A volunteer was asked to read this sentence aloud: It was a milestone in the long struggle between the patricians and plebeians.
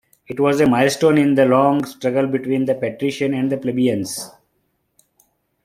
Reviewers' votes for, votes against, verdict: 0, 2, rejected